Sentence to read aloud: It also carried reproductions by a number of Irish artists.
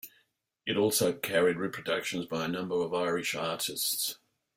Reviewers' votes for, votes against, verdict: 2, 0, accepted